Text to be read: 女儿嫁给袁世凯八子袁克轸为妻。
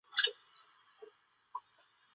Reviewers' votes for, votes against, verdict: 0, 2, rejected